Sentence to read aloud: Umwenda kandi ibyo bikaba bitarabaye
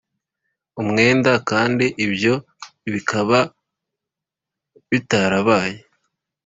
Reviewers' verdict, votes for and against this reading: accepted, 3, 0